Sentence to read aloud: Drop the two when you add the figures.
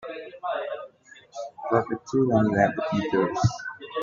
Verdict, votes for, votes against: accepted, 2, 1